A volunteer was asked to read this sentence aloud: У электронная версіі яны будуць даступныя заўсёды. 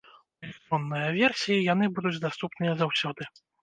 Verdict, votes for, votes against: rejected, 0, 2